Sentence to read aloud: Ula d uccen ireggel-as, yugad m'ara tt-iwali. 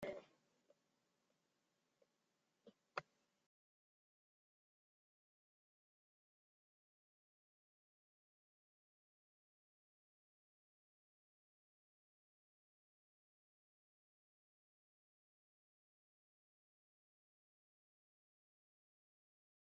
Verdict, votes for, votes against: rejected, 0, 2